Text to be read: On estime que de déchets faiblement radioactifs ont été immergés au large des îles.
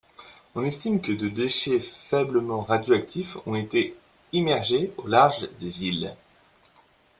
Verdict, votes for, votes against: rejected, 0, 2